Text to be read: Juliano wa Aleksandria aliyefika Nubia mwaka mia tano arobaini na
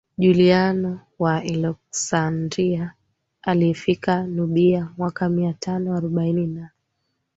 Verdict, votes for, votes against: accepted, 2, 0